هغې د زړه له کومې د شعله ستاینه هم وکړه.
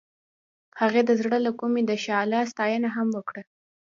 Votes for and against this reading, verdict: 2, 0, accepted